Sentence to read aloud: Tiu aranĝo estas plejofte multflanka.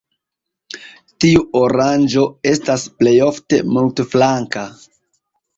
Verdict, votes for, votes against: rejected, 0, 3